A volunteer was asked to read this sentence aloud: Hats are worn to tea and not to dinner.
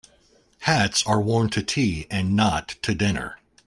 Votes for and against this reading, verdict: 2, 0, accepted